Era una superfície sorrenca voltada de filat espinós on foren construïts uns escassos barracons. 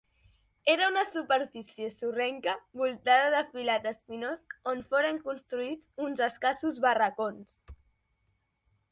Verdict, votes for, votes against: accepted, 2, 0